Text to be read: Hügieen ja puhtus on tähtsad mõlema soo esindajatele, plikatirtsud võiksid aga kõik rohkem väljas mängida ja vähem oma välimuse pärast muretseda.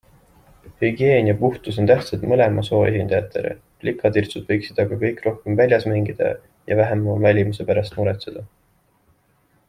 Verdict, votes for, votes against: accepted, 2, 0